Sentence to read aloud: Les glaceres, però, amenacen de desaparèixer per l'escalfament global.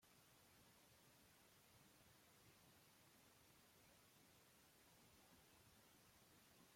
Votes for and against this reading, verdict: 0, 2, rejected